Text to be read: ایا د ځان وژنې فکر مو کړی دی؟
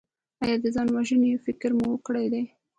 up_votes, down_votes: 2, 0